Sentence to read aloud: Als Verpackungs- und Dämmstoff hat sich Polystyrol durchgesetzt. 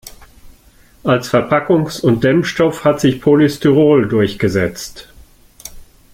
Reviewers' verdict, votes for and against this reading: accepted, 2, 0